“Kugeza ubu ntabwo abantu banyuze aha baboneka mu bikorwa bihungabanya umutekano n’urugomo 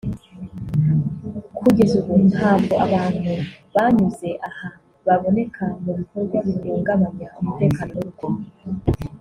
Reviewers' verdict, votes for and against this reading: accepted, 2, 0